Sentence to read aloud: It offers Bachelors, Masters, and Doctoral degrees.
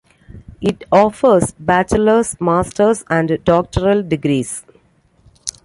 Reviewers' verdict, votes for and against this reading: accepted, 2, 0